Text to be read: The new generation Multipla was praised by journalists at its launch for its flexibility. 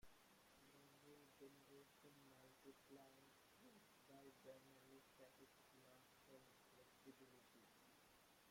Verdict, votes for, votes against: rejected, 0, 2